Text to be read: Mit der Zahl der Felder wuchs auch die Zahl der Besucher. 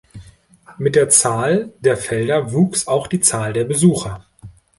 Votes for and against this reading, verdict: 2, 0, accepted